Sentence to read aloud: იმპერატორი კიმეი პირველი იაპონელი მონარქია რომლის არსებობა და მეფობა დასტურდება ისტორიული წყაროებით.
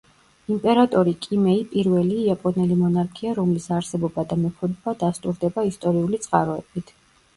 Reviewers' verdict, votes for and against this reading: accepted, 2, 0